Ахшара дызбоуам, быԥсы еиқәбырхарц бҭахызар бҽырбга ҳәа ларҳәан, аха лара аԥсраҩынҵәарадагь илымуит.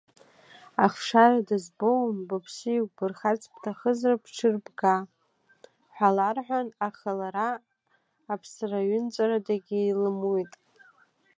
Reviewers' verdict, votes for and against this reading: rejected, 0, 2